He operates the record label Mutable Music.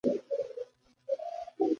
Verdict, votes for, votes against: rejected, 0, 2